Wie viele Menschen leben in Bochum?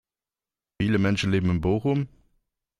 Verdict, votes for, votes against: rejected, 1, 2